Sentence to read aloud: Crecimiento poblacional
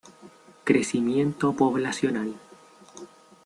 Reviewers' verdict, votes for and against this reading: accepted, 2, 1